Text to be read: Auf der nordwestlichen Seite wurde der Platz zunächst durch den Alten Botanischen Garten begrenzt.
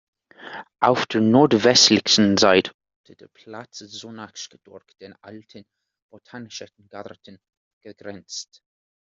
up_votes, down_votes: 0, 2